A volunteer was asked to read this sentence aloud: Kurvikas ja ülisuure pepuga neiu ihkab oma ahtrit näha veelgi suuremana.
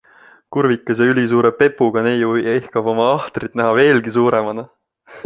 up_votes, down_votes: 3, 0